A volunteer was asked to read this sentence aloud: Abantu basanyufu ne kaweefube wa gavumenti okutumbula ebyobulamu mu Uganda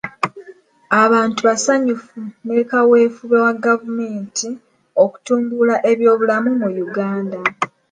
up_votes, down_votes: 2, 0